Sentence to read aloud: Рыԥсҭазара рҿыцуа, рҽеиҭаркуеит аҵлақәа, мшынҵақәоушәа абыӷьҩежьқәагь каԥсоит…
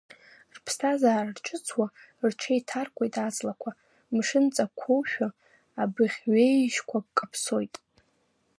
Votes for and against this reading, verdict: 1, 2, rejected